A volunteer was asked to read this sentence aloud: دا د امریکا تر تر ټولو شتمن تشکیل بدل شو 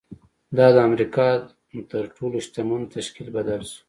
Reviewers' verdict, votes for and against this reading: rejected, 1, 2